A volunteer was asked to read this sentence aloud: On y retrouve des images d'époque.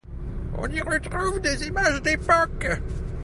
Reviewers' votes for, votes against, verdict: 2, 0, accepted